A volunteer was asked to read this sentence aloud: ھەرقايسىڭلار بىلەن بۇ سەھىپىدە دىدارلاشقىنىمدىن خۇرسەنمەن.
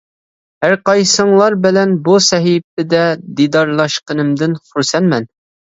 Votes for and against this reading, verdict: 2, 0, accepted